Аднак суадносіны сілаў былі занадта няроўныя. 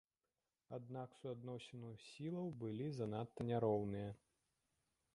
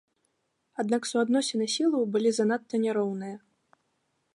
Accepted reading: second